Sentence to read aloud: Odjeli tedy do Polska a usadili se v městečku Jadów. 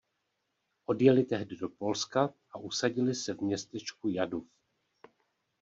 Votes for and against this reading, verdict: 0, 2, rejected